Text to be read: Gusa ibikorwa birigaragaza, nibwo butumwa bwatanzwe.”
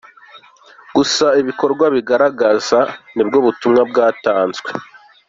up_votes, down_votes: 2, 0